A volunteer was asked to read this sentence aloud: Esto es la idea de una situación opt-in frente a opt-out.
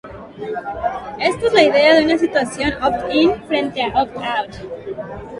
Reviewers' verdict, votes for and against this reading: accepted, 3, 0